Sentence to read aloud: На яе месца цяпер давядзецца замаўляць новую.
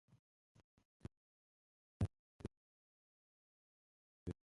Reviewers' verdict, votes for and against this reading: rejected, 0, 2